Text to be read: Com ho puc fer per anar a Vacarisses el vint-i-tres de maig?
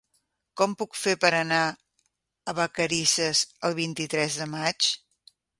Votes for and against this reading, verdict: 1, 3, rejected